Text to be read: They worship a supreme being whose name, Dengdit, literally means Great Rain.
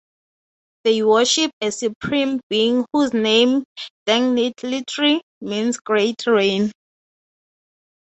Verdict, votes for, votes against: accepted, 3, 0